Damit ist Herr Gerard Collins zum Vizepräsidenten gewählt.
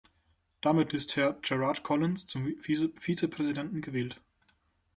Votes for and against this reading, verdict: 0, 2, rejected